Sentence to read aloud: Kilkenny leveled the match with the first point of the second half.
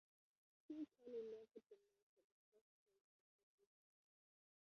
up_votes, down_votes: 0, 2